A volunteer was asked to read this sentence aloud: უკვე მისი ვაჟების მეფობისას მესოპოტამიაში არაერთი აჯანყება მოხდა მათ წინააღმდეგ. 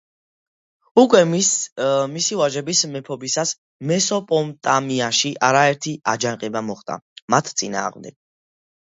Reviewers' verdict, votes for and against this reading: rejected, 1, 2